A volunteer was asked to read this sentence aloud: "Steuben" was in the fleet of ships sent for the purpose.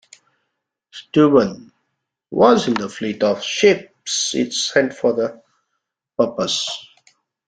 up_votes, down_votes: 0, 2